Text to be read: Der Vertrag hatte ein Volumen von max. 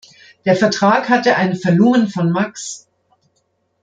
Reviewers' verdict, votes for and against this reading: rejected, 0, 2